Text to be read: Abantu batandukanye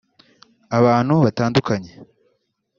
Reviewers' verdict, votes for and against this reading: rejected, 1, 3